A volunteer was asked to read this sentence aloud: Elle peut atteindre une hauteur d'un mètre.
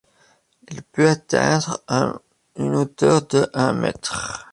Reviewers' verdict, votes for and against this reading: rejected, 0, 2